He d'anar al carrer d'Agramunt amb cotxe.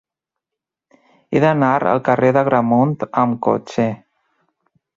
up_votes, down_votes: 2, 0